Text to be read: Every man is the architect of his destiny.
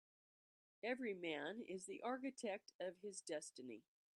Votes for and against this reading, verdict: 2, 0, accepted